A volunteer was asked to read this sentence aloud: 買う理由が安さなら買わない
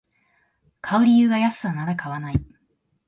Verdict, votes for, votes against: accepted, 2, 0